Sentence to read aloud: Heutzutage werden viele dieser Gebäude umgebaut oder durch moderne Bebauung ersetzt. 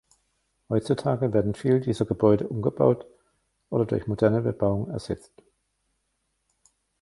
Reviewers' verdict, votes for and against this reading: rejected, 1, 2